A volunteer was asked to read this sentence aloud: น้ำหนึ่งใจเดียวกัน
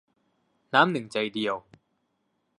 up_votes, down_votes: 0, 2